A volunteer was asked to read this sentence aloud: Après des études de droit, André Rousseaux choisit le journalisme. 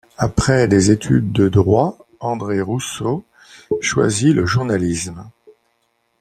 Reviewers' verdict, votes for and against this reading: accepted, 2, 0